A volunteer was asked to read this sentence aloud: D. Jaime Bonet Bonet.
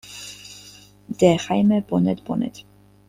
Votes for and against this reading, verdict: 1, 2, rejected